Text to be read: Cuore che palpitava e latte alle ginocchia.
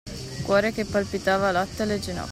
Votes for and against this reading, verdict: 1, 2, rejected